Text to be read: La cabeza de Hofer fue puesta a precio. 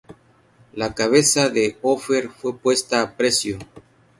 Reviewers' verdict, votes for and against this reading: accepted, 4, 0